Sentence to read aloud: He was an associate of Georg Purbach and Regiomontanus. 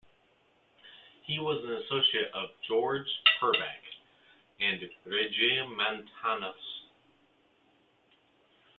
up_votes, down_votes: 0, 2